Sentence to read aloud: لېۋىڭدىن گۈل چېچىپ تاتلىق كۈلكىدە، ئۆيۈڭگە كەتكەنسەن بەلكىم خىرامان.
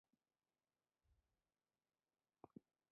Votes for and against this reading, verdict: 0, 2, rejected